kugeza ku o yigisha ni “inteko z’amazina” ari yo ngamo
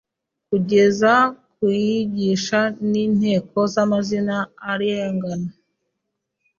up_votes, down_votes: 0, 2